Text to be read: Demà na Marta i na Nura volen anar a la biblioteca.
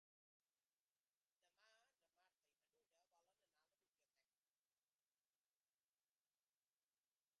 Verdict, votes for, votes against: rejected, 0, 2